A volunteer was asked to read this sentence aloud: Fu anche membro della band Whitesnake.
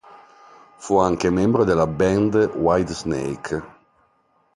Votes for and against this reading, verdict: 2, 0, accepted